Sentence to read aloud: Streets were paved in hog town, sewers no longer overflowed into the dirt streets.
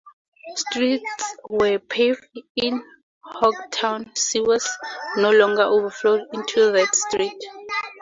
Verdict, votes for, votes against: accepted, 4, 0